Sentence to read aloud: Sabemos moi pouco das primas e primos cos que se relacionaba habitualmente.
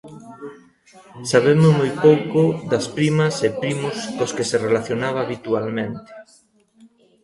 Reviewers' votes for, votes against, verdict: 1, 2, rejected